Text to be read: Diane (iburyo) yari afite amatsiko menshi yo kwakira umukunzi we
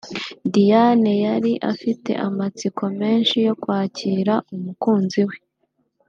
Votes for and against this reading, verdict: 0, 2, rejected